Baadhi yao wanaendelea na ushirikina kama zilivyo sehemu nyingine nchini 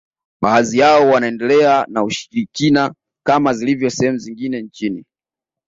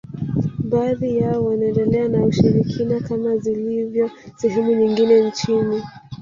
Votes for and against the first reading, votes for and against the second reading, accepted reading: 2, 0, 2, 3, first